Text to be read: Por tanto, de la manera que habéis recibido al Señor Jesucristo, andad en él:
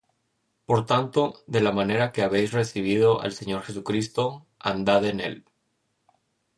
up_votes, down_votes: 2, 0